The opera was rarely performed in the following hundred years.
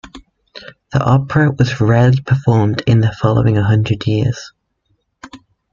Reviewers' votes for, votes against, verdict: 2, 0, accepted